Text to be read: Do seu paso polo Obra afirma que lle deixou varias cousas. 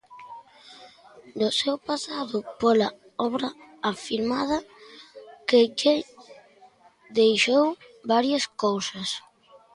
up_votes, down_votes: 0, 2